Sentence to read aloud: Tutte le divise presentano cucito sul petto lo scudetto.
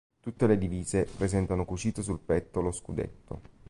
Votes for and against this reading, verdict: 3, 0, accepted